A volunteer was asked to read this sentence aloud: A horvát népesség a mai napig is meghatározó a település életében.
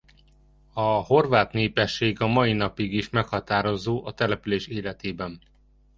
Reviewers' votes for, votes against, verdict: 2, 0, accepted